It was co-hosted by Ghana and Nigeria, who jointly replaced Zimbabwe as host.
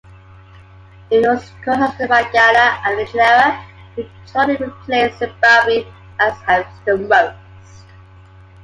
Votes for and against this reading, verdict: 1, 2, rejected